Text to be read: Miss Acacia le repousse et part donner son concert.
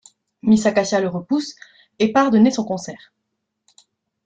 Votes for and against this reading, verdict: 2, 0, accepted